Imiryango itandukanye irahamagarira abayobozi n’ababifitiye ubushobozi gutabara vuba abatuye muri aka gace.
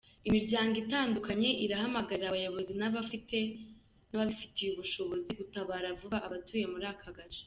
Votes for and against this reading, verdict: 2, 1, accepted